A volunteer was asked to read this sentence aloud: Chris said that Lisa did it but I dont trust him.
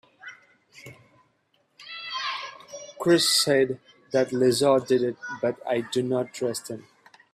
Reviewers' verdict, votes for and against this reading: rejected, 0, 2